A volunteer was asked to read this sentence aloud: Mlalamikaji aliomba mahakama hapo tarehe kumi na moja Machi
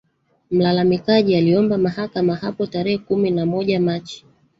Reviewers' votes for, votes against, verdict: 1, 2, rejected